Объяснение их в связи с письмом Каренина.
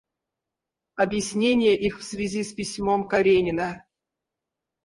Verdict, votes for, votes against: rejected, 0, 4